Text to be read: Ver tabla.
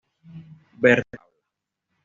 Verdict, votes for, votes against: rejected, 1, 2